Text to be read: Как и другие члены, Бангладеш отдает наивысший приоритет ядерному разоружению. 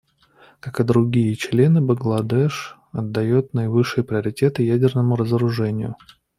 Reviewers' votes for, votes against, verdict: 2, 0, accepted